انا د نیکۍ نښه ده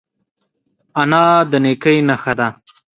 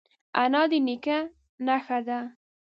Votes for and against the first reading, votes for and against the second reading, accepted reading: 2, 0, 1, 2, first